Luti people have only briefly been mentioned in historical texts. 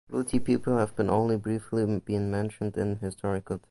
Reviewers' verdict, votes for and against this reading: rejected, 0, 2